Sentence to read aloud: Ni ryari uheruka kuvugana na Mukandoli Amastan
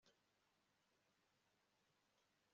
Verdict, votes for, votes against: rejected, 1, 2